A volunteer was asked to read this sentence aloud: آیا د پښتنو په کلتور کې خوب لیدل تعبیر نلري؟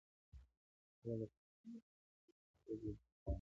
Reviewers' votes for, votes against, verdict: 0, 2, rejected